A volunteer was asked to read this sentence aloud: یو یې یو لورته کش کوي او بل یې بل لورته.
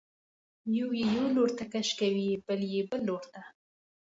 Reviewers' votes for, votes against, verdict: 2, 0, accepted